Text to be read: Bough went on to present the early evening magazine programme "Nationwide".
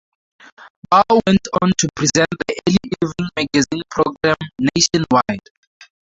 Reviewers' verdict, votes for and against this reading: accepted, 2, 0